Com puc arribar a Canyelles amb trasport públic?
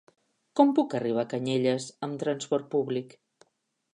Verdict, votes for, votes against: accepted, 4, 0